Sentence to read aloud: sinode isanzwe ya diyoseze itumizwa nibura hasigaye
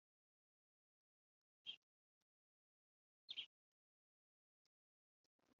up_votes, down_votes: 1, 3